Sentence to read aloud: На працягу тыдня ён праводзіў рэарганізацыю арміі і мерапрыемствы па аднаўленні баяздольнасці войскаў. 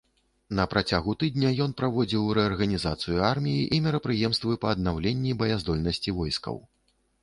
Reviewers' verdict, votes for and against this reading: accepted, 2, 0